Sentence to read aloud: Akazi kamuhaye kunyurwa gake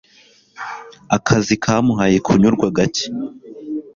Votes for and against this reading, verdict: 2, 0, accepted